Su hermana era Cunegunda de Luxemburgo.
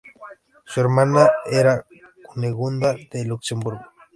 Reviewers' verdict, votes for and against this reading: rejected, 0, 2